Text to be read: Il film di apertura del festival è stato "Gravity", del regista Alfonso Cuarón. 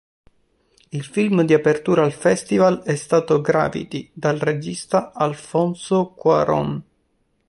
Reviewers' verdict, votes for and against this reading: rejected, 2, 3